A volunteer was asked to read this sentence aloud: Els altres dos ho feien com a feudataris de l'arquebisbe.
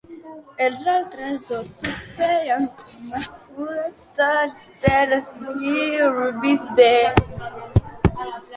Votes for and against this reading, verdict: 0, 2, rejected